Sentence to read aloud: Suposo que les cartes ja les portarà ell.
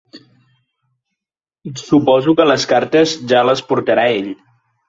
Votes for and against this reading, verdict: 3, 0, accepted